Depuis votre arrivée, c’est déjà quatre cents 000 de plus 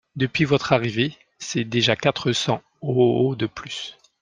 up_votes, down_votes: 0, 2